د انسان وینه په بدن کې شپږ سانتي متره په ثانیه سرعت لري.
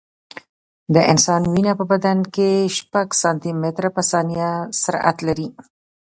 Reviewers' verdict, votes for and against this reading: rejected, 0, 2